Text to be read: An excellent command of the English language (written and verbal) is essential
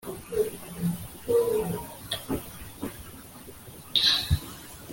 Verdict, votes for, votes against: rejected, 0, 2